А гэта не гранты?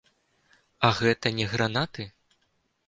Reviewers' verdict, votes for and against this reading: rejected, 1, 3